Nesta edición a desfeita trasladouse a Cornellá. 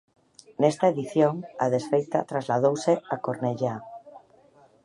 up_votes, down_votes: 2, 0